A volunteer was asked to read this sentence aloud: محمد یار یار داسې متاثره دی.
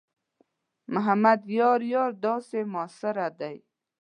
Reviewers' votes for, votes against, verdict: 0, 2, rejected